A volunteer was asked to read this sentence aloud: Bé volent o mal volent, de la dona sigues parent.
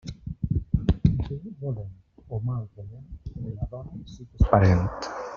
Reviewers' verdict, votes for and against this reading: rejected, 0, 2